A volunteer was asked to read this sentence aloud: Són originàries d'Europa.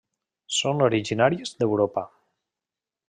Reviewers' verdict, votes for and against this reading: accepted, 2, 0